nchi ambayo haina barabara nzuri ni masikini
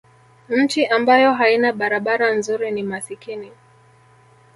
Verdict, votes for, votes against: accepted, 2, 1